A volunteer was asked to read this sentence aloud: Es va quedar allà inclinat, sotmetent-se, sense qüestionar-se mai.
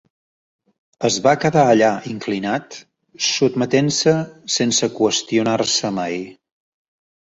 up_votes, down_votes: 3, 0